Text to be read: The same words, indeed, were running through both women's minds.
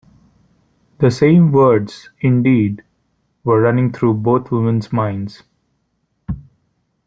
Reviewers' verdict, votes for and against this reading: accepted, 2, 1